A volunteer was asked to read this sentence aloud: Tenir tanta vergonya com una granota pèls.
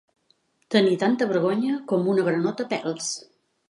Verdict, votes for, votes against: accepted, 2, 0